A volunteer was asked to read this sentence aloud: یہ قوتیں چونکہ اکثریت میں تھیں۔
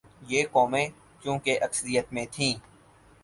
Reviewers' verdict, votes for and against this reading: rejected, 0, 4